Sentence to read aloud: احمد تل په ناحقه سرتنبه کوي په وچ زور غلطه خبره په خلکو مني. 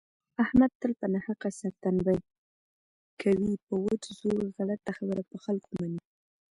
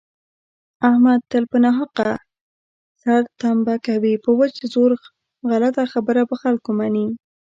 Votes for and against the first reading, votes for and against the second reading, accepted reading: 2, 0, 1, 2, first